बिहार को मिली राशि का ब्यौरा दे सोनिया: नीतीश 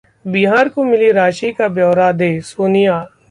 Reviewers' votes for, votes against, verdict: 0, 2, rejected